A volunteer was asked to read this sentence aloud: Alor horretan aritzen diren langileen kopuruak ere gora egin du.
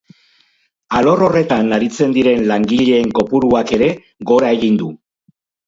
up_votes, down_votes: 2, 4